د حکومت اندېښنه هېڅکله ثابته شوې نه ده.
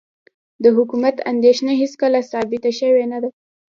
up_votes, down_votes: 2, 1